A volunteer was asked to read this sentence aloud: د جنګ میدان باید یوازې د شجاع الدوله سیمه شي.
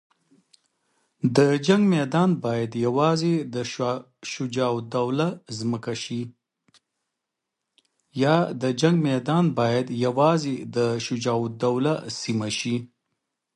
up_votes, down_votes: 0, 2